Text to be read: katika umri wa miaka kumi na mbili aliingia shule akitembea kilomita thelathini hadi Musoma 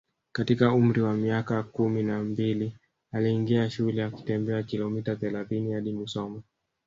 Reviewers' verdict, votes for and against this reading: rejected, 1, 2